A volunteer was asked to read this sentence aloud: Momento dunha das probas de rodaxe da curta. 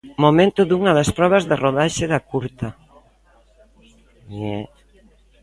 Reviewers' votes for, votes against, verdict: 1, 2, rejected